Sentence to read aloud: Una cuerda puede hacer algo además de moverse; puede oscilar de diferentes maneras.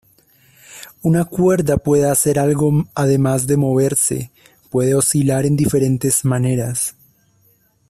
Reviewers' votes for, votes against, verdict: 1, 2, rejected